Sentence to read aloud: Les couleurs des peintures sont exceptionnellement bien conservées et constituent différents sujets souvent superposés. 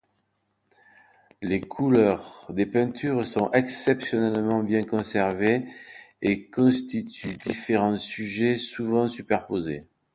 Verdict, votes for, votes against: accepted, 2, 0